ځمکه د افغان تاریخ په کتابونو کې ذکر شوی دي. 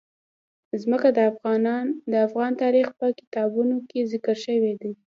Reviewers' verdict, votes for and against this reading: rejected, 1, 2